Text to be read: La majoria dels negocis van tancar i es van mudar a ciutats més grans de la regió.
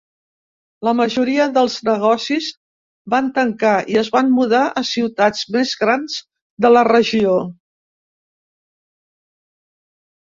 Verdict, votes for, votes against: accepted, 2, 0